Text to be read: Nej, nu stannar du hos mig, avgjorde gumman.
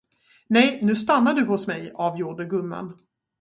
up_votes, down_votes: 2, 2